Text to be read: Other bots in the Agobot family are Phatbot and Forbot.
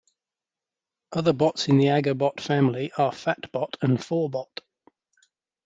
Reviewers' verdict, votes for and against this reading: accepted, 2, 0